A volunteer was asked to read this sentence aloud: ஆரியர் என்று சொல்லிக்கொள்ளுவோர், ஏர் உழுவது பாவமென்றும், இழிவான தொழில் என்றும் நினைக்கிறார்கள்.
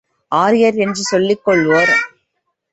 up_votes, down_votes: 0, 2